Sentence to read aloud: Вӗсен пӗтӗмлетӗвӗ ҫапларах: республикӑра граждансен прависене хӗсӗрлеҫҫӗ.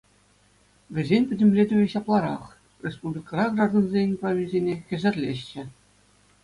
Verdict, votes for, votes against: accepted, 2, 0